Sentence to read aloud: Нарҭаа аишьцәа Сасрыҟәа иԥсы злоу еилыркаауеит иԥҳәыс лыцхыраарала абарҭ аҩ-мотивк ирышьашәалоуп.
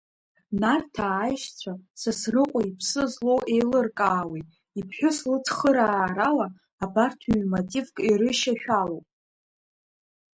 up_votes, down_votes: 0, 2